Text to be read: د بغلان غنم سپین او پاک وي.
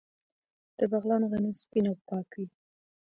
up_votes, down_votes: 2, 1